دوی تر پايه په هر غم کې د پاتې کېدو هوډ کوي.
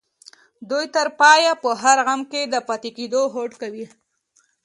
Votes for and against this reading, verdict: 2, 1, accepted